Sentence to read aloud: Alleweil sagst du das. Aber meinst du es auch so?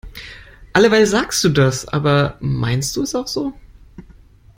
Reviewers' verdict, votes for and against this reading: accepted, 2, 0